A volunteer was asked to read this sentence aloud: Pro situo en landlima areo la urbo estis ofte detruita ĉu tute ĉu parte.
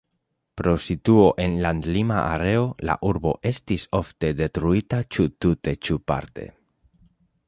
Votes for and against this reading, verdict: 2, 0, accepted